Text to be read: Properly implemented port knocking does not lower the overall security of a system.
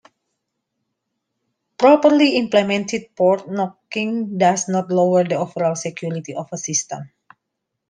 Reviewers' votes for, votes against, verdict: 2, 1, accepted